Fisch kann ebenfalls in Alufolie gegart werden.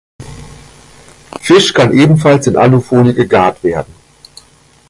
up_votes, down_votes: 2, 0